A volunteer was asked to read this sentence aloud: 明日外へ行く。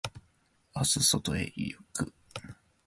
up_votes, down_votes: 1, 2